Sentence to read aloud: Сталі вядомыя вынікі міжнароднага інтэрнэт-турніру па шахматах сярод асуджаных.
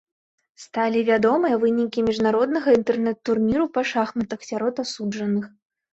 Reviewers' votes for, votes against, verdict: 2, 0, accepted